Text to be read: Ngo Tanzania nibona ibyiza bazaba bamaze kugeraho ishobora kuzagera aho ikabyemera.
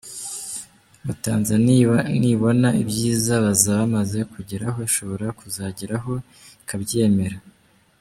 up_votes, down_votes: 0, 2